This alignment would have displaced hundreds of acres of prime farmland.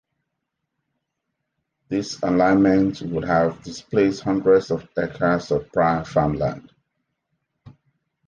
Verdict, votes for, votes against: accepted, 2, 1